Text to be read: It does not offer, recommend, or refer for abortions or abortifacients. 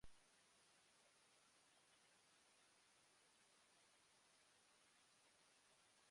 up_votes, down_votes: 0, 2